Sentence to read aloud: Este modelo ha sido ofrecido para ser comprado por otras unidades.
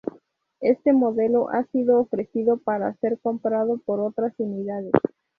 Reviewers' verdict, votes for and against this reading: accepted, 2, 0